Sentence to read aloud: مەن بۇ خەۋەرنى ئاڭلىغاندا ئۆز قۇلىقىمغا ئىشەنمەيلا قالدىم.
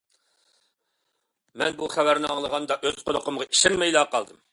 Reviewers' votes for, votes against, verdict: 2, 0, accepted